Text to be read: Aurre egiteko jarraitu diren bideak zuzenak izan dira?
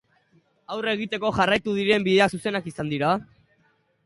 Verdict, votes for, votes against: accepted, 2, 0